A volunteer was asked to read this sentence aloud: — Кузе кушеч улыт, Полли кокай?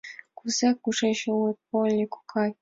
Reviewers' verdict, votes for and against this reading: accepted, 2, 0